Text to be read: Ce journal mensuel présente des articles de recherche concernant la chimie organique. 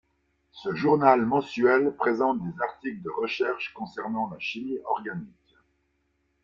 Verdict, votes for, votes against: rejected, 1, 2